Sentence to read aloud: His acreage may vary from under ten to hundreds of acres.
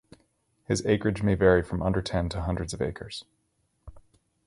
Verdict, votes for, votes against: accepted, 4, 0